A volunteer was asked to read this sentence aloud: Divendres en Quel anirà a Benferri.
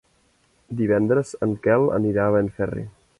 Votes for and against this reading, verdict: 4, 0, accepted